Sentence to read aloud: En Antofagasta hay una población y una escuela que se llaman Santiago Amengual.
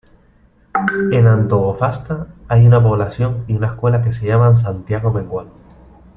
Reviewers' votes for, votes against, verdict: 0, 3, rejected